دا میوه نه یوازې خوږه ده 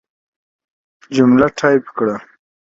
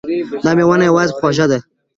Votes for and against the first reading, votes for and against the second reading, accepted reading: 1, 2, 2, 0, second